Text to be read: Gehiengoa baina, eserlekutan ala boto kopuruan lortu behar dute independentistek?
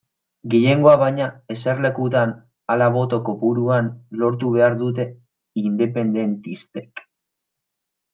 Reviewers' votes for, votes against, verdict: 1, 2, rejected